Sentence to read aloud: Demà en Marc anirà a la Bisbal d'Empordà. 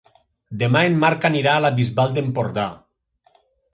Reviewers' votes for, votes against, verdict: 3, 0, accepted